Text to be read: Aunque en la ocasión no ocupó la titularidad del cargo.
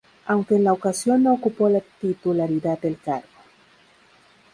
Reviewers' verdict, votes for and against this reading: rejected, 0, 2